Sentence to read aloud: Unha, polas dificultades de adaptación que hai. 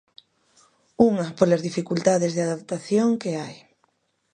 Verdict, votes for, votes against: accepted, 2, 0